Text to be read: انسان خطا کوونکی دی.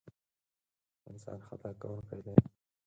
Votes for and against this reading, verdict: 2, 4, rejected